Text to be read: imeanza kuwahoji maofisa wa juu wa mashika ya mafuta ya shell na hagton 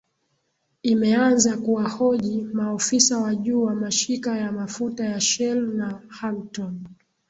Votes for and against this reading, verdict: 13, 0, accepted